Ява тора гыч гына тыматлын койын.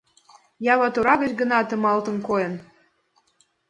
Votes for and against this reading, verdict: 1, 3, rejected